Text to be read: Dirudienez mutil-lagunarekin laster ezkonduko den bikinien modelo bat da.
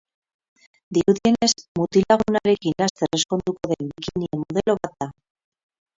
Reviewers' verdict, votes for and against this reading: rejected, 0, 4